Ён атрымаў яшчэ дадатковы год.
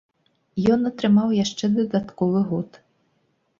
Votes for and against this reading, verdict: 3, 0, accepted